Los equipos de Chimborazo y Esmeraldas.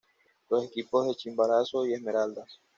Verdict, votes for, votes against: rejected, 1, 2